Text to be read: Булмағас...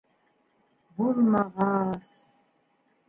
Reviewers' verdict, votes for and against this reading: rejected, 1, 2